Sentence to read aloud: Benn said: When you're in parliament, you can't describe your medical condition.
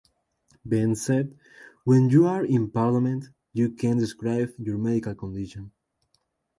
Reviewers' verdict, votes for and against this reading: accepted, 2, 0